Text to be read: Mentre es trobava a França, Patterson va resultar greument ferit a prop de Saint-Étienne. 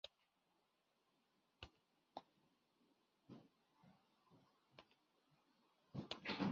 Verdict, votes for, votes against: rejected, 0, 2